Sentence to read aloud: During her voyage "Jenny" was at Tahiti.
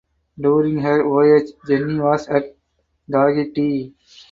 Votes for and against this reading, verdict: 0, 2, rejected